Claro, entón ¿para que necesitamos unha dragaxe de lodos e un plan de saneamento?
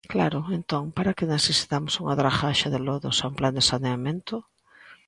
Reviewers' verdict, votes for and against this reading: accepted, 2, 0